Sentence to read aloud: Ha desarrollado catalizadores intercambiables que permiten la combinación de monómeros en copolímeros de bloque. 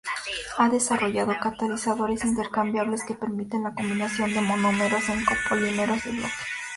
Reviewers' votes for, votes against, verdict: 2, 0, accepted